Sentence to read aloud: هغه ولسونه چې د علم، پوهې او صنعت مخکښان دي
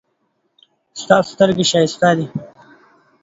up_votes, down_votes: 0, 2